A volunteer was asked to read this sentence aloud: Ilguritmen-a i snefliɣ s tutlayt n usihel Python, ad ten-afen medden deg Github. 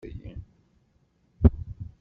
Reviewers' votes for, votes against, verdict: 1, 2, rejected